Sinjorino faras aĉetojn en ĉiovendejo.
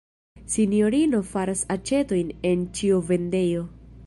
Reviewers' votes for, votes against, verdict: 2, 0, accepted